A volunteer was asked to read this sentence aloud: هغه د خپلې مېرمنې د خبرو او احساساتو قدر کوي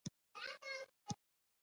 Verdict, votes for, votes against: rejected, 0, 2